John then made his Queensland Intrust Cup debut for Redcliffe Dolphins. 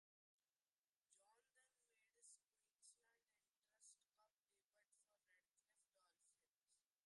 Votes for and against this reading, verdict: 0, 2, rejected